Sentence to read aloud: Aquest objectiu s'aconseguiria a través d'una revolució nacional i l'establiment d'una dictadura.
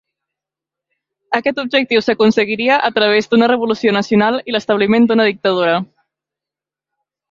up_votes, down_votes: 2, 0